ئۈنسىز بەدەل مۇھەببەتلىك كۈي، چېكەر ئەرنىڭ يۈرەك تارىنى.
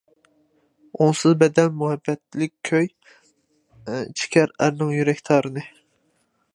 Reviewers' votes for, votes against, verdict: 0, 2, rejected